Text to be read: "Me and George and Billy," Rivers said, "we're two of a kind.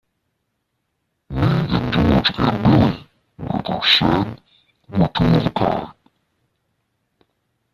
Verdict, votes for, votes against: rejected, 0, 2